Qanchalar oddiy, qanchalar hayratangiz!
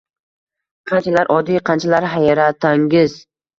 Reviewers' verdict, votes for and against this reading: accepted, 2, 0